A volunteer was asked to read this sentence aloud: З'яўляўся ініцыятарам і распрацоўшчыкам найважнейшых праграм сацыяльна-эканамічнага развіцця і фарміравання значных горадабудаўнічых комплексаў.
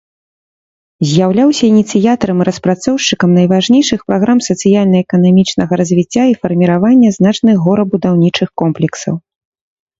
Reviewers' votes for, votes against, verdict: 1, 2, rejected